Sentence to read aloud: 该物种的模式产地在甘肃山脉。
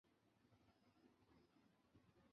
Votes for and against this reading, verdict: 2, 4, rejected